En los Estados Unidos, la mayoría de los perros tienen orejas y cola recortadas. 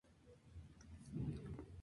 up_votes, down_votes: 0, 2